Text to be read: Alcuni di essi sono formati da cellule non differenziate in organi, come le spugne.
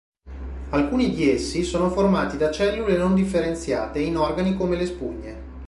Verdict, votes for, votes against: rejected, 1, 2